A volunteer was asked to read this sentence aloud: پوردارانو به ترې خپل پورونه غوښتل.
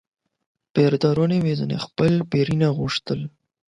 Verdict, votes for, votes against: accepted, 8, 4